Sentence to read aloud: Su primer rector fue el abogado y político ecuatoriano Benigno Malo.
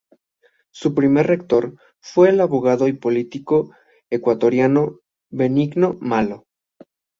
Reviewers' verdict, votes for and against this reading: accepted, 2, 0